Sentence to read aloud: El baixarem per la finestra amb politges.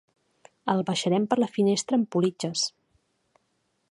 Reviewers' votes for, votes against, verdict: 3, 0, accepted